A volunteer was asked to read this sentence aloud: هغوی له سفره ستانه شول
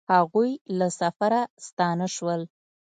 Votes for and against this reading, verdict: 2, 0, accepted